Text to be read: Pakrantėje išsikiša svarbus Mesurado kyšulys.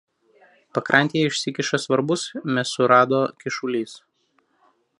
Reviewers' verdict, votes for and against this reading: rejected, 0, 2